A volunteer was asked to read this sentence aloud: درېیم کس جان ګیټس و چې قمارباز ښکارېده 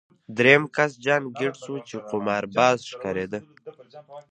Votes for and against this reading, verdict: 1, 2, rejected